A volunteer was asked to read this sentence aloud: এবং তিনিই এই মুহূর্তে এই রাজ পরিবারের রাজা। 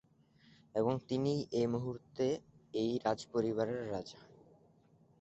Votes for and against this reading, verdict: 2, 0, accepted